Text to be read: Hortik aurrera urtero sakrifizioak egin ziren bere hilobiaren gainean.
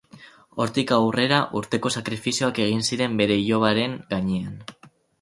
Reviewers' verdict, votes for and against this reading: rejected, 2, 2